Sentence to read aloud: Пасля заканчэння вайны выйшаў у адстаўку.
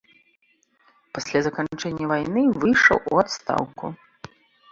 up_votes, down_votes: 2, 0